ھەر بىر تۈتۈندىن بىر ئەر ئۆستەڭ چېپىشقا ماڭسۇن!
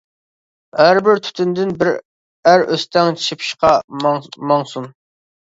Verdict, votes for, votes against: rejected, 1, 2